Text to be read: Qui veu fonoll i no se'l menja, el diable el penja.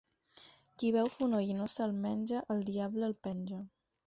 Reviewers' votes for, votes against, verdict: 4, 0, accepted